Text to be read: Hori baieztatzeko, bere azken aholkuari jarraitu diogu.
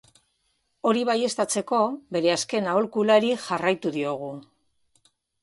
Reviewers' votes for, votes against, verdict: 0, 2, rejected